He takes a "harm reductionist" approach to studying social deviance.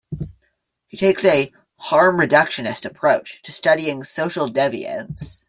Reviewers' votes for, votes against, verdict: 1, 2, rejected